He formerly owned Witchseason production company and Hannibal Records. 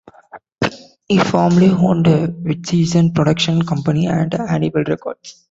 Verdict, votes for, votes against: accepted, 2, 0